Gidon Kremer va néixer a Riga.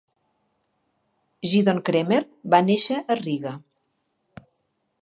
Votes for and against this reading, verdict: 2, 0, accepted